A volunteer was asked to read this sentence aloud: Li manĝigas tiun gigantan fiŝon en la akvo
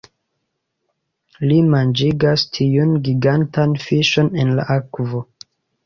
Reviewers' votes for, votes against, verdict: 2, 1, accepted